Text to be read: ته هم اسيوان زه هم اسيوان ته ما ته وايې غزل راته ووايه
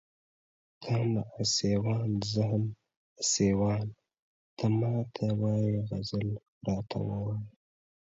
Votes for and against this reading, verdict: 1, 2, rejected